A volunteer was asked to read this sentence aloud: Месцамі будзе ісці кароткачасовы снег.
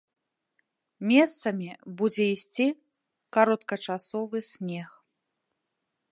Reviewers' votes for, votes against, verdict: 2, 0, accepted